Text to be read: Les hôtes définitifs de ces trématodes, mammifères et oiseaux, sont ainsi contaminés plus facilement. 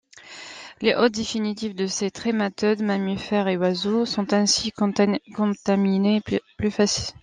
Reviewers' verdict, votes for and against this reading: rejected, 0, 2